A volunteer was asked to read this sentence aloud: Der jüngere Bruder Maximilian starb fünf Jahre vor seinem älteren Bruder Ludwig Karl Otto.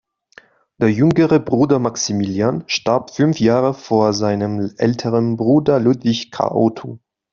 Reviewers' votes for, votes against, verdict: 2, 0, accepted